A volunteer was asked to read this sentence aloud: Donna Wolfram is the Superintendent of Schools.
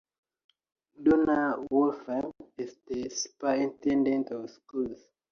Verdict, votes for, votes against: accepted, 2, 0